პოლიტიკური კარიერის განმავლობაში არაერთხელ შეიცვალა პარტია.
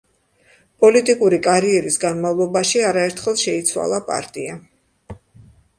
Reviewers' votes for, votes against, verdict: 2, 0, accepted